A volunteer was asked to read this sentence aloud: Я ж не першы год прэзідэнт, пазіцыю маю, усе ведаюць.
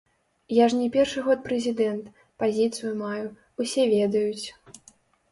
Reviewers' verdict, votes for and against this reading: rejected, 0, 2